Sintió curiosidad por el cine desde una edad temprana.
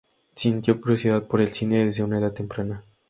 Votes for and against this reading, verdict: 2, 0, accepted